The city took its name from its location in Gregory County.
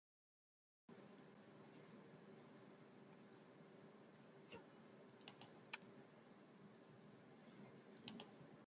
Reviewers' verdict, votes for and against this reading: rejected, 0, 2